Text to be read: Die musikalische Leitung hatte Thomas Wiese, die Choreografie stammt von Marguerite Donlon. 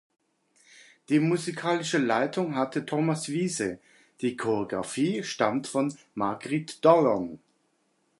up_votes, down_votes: 0, 2